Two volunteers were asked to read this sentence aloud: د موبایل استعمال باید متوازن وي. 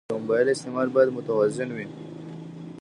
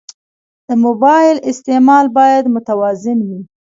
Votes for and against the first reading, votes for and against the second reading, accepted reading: 2, 1, 1, 2, first